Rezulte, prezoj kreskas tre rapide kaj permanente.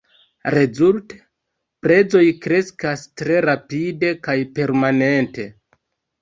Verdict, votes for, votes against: rejected, 1, 2